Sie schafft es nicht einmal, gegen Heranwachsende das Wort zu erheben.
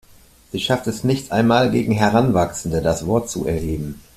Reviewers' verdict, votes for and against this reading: accepted, 2, 0